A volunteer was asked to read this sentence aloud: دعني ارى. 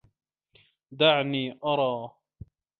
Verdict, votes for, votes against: accepted, 2, 1